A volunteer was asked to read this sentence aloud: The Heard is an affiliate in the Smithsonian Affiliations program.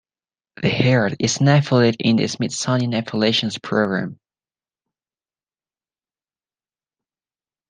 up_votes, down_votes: 1, 2